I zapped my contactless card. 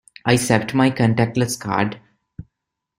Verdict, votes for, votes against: accepted, 2, 0